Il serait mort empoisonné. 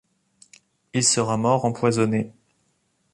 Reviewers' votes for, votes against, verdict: 1, 2, rejected